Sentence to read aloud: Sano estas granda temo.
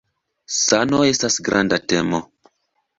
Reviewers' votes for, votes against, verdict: 2, 0, accepted